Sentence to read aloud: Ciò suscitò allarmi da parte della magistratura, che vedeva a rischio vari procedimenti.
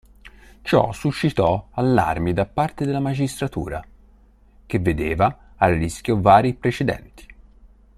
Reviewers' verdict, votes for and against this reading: rejected, 1, 5